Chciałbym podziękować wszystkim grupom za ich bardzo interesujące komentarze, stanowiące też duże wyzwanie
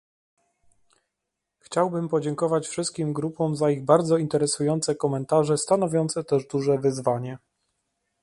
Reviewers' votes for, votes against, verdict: 2, 0, accepted